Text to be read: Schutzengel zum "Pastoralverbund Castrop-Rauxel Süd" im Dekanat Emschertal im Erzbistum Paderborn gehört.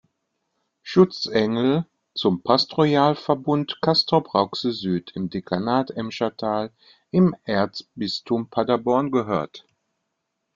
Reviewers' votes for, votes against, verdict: 2, 1, accepted